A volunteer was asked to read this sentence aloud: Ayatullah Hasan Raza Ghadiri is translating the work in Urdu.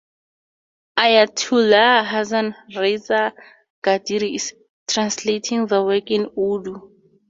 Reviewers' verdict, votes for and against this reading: accepted, 4, 2